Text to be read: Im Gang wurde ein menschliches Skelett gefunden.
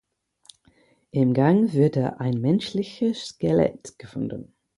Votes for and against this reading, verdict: 2, 4, rejected